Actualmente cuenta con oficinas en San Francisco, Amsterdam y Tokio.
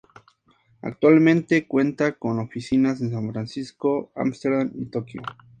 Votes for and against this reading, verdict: 2, 0, accepted